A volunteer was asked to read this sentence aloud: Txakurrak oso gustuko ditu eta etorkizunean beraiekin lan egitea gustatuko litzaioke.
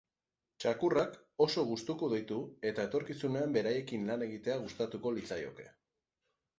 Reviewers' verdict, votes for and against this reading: rejected, 0, 2